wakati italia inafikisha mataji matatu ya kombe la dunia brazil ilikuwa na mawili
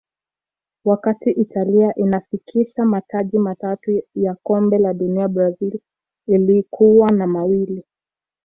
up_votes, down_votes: 2, 0